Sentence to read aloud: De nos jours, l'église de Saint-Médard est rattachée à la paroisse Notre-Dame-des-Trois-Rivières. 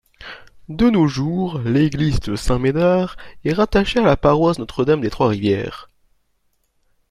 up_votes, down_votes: 2, 0